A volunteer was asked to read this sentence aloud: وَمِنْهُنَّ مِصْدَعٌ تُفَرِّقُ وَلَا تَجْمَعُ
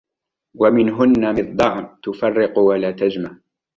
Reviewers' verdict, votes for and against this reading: rejected, 1, 2